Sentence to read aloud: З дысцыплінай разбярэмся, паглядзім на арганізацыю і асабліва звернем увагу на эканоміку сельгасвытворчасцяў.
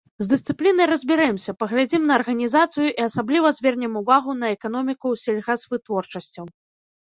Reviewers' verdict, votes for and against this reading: accepted, 2, 0